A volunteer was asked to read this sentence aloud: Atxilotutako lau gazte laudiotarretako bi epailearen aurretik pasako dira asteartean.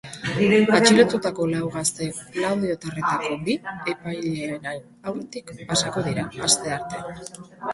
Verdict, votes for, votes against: rejected, 0, 2